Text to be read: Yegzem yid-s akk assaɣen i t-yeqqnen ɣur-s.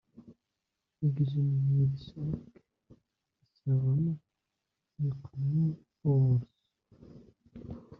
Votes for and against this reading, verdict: 0, 2, rejected